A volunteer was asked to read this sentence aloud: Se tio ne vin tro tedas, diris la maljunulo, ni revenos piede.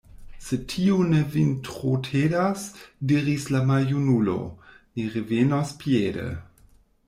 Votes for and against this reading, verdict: 1, 2, rejected